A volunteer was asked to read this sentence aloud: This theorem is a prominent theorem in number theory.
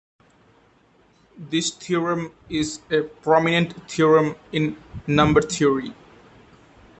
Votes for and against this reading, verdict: 2, 0, accepted